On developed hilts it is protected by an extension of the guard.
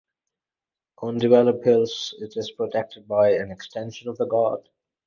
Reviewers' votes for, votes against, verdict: 6, 0, accepted